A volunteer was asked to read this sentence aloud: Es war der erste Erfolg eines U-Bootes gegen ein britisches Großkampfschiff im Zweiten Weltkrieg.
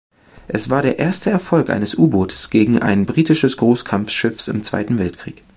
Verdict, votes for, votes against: rejected, 0, 2